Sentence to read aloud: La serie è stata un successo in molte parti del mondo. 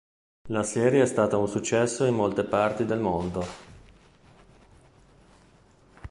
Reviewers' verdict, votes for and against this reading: rejected, 1, 2